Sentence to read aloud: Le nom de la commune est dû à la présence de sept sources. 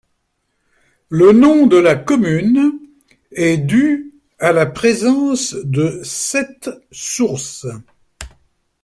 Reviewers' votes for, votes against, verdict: 2, 0, accepted